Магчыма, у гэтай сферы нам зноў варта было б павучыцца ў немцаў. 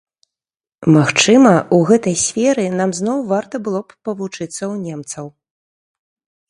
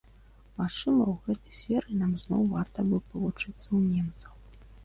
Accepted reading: first